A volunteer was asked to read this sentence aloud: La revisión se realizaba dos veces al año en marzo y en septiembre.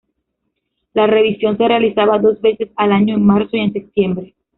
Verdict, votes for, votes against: accepted, 2, 1